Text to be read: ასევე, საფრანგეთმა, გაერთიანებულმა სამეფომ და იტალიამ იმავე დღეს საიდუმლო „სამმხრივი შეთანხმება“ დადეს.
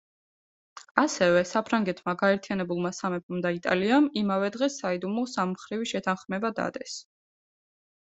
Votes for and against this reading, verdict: 2, 0, accepted